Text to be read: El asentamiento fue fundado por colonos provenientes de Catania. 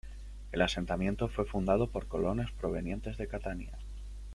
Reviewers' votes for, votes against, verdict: 0, 2, rejected